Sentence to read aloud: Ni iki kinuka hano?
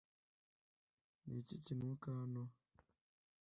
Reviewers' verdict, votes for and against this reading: rejected, 0, 2